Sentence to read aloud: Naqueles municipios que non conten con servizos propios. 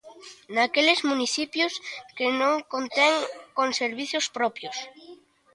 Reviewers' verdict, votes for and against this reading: rejected, 1, 2